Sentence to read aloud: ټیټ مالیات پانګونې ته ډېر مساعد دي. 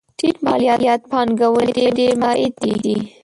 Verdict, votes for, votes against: rejected, 0, 2